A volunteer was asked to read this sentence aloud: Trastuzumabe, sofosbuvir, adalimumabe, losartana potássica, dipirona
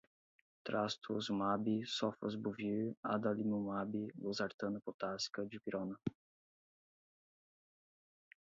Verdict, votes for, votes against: rejected, 4, 4